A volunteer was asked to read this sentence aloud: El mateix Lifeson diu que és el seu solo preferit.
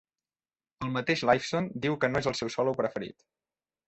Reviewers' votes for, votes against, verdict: 0, 2, rejected